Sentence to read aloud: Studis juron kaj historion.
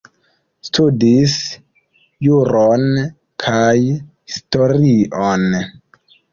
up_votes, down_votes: 1, 2